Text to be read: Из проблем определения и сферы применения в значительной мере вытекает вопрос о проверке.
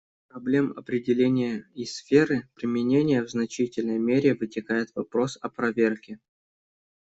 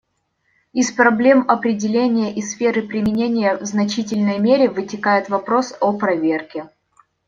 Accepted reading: second